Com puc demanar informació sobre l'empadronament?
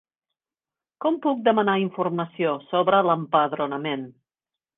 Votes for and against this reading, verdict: 4, 0, accepted